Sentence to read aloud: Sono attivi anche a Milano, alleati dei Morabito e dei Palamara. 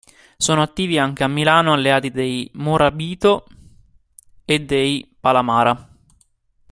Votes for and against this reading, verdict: 2, 1, accepted